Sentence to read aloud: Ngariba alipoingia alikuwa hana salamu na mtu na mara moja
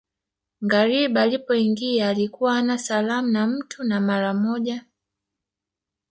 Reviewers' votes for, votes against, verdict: 1, 2, rejected